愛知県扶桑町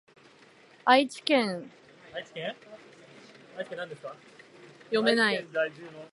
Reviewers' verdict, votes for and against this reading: rejected, 1, 2